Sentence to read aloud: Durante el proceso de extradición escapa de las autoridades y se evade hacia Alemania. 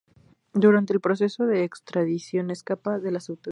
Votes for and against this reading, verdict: 2, 2, rejected